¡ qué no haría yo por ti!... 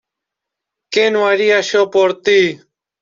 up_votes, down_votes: 2, 0